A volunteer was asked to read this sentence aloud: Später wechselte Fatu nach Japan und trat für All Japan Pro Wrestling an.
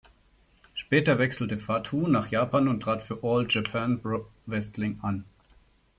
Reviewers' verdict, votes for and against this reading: accepted, 2, 0